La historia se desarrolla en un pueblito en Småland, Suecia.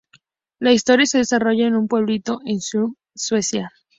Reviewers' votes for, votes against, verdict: 0, 2, rejected